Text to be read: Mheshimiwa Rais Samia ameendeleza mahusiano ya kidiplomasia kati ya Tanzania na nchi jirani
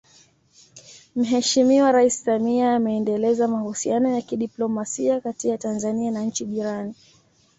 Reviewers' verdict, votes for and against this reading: accepted, 2, 0